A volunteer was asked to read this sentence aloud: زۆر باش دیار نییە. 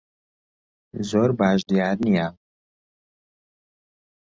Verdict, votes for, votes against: accepted, 2, 0